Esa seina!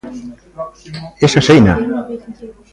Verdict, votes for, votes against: rejected, 1, 2